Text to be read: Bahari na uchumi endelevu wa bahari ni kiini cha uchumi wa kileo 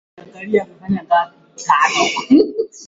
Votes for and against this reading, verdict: 0, 2, rejected